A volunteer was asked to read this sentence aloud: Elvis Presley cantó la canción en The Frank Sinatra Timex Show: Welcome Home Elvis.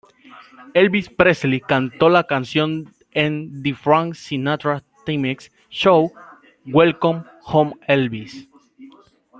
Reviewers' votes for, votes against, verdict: 2, 0, accepted